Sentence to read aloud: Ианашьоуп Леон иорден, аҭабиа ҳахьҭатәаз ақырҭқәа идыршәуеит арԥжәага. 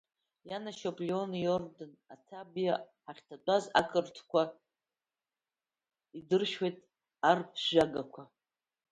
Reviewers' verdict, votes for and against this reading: rejected, 0, 2